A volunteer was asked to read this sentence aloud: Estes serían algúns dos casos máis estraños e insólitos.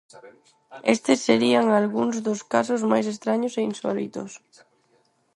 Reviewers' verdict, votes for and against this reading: rejected, 2, 4